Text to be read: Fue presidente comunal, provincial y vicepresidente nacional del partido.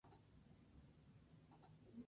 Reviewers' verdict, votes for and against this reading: rejected, 0, 2